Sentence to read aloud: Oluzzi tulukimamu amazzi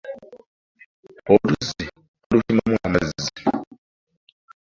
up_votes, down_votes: 0, 2